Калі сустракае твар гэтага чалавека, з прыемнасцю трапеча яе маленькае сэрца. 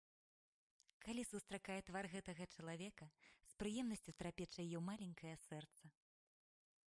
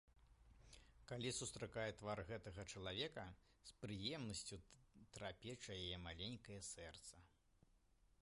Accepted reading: second